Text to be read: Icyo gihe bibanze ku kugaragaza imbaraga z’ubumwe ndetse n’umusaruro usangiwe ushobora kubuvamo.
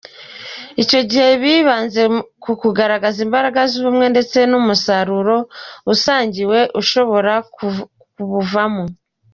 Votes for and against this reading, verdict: 2, 0, accepted